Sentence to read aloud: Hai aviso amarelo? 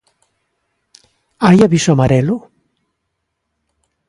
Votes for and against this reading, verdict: 2, 0, accepted